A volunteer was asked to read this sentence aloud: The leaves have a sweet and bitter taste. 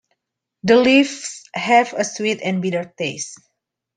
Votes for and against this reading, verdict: 2, 1, accepted